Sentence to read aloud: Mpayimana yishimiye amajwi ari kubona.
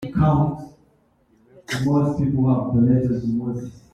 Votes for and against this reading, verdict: 0, 2, rejected